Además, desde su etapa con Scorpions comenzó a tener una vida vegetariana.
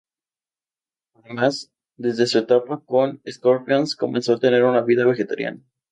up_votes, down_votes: 2, 0